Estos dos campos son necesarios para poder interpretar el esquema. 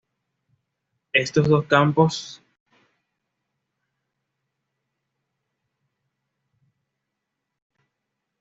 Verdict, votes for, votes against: rejected, 1, 2